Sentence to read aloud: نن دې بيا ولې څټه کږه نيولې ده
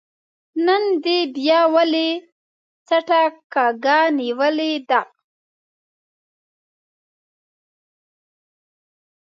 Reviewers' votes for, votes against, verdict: 1, 2, rejected